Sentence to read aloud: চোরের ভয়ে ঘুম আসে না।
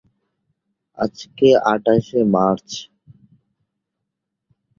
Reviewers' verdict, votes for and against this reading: rejected, 1, 15